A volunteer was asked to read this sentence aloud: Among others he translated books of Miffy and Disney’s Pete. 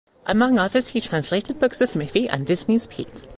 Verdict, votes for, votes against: accepted, 2, 0